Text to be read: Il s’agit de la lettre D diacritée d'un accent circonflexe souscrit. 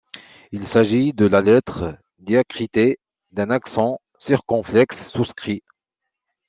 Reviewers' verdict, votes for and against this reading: rejected, 0, 2